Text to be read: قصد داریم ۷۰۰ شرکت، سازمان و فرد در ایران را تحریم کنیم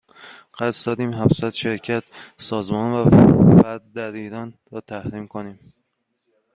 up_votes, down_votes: 0, 2